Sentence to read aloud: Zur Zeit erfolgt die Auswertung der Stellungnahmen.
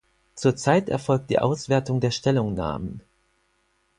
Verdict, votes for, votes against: accepted, 4, 2